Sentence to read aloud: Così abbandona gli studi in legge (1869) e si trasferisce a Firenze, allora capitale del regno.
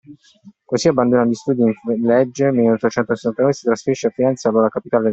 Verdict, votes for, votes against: rejected, 0, 2